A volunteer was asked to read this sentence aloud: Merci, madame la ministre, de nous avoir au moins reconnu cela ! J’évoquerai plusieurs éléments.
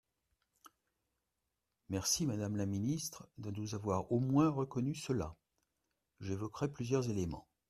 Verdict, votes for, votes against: accepted, 2, 0